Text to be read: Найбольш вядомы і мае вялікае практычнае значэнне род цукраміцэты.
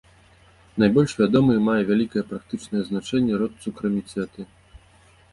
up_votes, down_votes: 2, 0